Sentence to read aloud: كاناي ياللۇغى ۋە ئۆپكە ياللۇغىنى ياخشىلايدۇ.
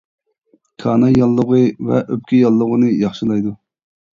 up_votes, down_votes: 2, 0